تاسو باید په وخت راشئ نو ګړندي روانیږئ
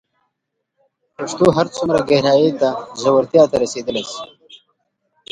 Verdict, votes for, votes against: rejected, 1, 2